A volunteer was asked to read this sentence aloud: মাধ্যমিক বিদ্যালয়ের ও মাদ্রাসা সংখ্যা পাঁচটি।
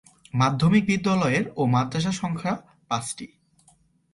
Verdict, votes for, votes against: accepted, 2, 0